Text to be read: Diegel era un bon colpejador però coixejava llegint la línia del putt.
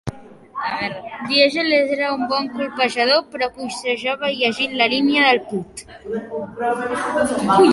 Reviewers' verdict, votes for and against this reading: rejected, 1, 2